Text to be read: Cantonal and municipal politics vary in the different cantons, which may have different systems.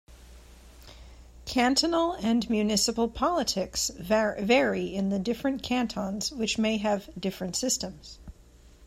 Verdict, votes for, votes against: rejected, 1, 2